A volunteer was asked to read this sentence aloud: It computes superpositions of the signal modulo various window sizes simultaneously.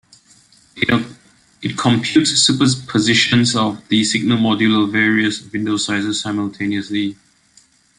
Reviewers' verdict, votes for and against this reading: rejected, 1, 2